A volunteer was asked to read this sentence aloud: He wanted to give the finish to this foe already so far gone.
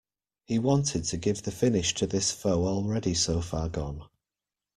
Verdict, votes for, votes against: accepted, 2, 0